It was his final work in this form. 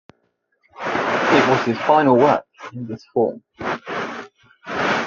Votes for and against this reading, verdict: 2, 1, accepted